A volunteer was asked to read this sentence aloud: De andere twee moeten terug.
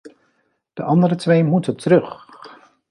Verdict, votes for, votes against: accepted, 2, 0